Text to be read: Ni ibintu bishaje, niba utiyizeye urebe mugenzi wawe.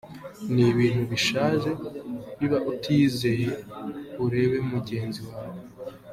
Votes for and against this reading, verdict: 3, 0, accepted